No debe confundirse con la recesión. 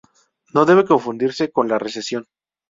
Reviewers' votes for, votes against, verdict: 2, 0, accepted